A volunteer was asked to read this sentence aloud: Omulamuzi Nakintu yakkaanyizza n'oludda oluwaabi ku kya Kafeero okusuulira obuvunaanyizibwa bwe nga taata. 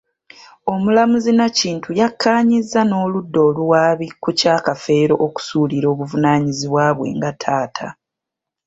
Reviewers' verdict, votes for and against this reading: accepted, 3, 0